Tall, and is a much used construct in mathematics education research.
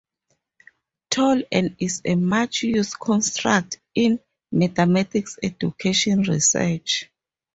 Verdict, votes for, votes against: rejected, 2, 2